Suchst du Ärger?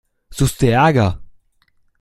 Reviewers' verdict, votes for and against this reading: accepted, 2, 0